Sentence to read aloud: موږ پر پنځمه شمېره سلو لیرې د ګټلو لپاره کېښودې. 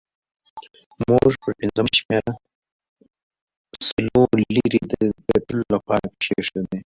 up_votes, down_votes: 0, 2